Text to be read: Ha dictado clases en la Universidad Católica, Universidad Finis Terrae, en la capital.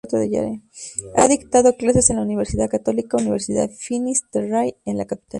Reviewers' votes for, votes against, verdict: 2, 2, rejected